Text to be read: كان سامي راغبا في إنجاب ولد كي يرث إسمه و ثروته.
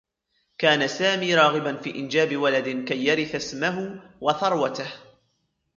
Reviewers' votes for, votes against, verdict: 2, 0, accepted